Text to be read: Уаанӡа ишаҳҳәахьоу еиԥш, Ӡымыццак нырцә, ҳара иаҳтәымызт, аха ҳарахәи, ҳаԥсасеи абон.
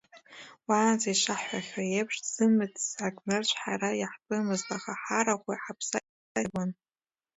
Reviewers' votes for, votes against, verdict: 1, 2, rejected